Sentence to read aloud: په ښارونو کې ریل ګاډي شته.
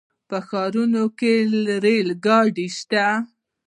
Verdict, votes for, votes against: rejected, 0, 2